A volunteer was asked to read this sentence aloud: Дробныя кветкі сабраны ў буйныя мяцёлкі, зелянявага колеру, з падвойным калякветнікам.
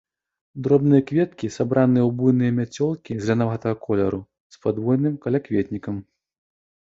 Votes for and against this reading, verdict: 2, 1, accepted